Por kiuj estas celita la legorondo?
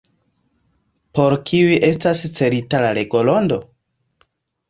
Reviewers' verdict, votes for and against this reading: accepted, 2, 1